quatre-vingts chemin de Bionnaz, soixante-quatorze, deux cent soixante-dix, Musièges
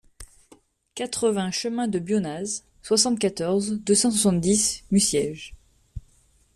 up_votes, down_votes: 2, 0